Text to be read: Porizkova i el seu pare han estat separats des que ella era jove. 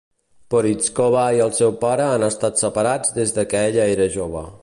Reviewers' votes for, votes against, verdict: 2, 0, accepted